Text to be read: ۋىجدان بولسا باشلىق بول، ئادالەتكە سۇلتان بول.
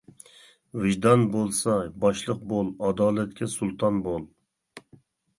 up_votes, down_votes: 3, 0